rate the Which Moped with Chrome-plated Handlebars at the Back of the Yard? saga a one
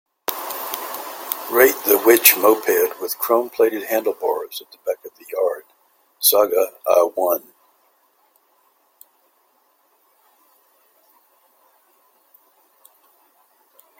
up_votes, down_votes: 1, 2